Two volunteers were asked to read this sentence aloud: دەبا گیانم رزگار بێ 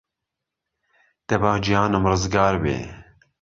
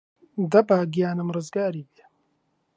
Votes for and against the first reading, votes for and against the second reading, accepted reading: 2, 0, 1, 2, first